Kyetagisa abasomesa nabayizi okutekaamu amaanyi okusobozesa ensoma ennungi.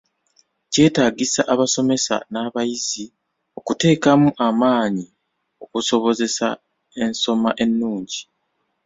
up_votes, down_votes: 2, 0